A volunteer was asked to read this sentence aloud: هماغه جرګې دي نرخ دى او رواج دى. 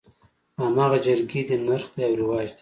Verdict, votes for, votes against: accepted, 2, 0